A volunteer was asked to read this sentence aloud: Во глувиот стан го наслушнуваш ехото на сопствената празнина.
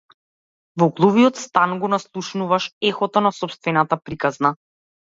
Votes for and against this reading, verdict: 0, 2, rejected